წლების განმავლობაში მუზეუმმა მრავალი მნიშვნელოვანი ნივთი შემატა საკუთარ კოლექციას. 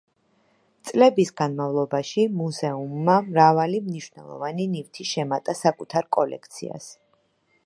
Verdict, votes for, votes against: accepted, 2, 1